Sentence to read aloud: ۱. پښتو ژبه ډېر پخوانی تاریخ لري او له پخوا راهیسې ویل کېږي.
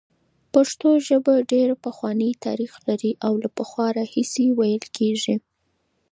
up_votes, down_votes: 0, 2